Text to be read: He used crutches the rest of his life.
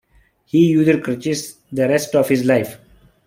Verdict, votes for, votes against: rejected, 0, 2